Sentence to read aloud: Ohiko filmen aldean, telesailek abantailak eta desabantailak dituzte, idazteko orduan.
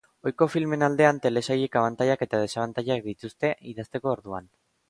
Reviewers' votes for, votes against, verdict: 2, 0, accepted